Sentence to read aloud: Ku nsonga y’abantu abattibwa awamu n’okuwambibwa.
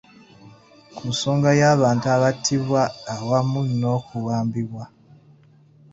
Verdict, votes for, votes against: accepted, 2, 1